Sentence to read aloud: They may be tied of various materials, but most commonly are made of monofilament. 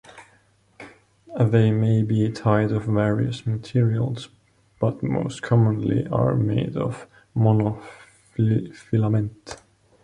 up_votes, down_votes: 1, 2